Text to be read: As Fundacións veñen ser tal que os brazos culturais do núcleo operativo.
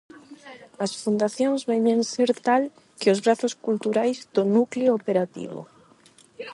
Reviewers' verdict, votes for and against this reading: rejected, 4, 4